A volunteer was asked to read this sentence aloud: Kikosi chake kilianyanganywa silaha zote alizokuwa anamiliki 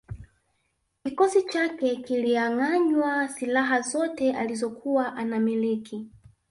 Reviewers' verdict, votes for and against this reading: rejected, 1, 2